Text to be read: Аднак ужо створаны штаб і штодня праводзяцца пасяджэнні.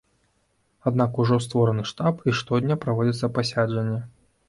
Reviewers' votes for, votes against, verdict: 0, 2, rejected